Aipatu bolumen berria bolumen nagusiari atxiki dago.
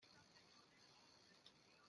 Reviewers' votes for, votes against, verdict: 0, 2, rejected